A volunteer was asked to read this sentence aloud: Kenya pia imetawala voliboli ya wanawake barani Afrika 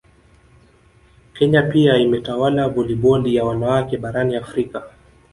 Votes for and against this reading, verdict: 1, 2, rejected